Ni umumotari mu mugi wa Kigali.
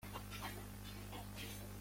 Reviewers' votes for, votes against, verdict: 0, 2, rejected